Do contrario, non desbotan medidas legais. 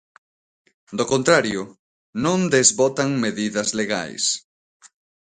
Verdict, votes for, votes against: accepted, 2, 0